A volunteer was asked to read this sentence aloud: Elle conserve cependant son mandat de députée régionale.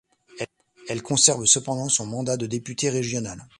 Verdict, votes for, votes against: rejected, 1, 2